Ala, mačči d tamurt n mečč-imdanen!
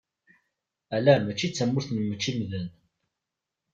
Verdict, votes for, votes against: accepted, 2, 0